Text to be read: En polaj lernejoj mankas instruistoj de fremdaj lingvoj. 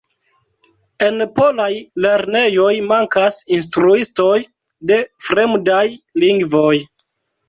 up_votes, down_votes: 2, 0